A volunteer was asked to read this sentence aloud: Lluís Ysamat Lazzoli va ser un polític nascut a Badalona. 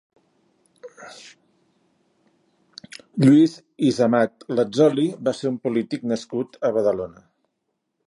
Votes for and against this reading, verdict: 1, 2, rejected